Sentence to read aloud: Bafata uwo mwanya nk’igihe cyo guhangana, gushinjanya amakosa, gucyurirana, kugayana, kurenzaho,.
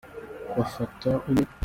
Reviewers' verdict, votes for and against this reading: rejected, 0, 2